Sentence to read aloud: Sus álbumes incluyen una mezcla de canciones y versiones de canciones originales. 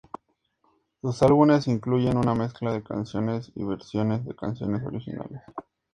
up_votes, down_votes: 2, 0